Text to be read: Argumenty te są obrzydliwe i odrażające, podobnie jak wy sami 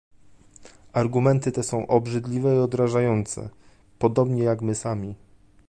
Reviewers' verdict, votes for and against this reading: rejected, 1, 2